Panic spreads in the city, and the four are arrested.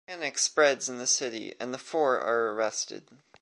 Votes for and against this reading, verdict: 2, 0, accepted